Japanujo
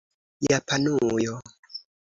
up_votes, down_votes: 3, 0